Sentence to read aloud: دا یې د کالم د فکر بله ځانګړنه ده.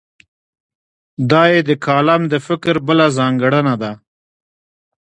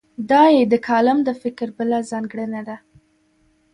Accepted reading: second